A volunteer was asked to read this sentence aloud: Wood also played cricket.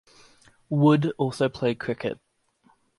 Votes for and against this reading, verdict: 2, 0, accepted